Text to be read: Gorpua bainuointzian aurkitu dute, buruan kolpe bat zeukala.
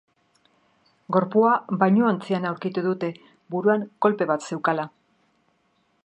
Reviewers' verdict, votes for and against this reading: accepted, 2, 0